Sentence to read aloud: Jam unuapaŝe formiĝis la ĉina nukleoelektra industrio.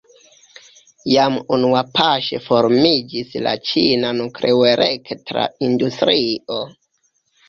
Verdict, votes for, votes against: accepted, 2, 0